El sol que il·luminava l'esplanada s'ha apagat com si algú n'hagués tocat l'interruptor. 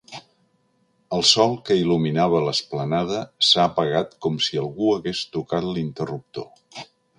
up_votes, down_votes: 0, 2